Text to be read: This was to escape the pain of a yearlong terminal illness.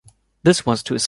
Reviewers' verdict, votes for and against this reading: rejected, 1, 2